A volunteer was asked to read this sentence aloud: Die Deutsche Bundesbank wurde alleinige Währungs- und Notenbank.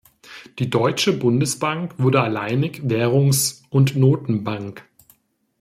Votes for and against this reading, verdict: 1, 2, rejected